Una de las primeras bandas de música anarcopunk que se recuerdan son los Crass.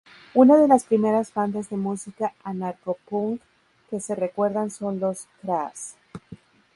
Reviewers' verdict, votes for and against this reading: rejected, 2, 2